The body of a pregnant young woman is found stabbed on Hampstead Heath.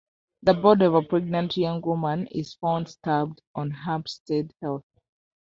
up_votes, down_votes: 1, 2